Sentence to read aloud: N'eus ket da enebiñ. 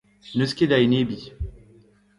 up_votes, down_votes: 2, 0